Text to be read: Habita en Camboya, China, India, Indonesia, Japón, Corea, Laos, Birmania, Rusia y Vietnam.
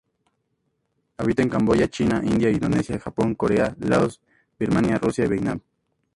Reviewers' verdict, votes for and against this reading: accepted, 4, 2